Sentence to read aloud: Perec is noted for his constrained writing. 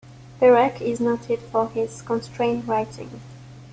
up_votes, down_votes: 2, 0